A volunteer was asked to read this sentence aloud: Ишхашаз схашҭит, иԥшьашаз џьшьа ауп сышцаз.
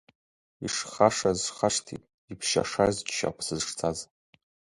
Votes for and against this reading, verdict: 1, 2, rejected